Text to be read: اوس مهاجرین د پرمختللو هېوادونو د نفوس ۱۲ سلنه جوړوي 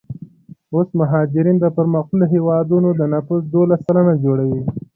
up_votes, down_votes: 0, 2